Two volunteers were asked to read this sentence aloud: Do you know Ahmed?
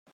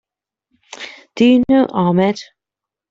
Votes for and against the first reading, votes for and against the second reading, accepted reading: 0, 2, 2, 0, second